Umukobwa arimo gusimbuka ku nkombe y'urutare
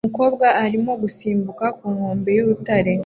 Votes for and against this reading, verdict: 2, 0, accepted